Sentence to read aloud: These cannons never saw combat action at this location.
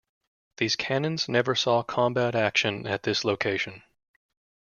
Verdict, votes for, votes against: accepted, 2, 0